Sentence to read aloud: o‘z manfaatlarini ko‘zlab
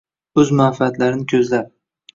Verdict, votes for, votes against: rejected, 1, 2